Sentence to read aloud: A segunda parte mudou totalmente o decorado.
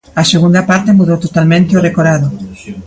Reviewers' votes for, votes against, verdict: 2, 0, accepted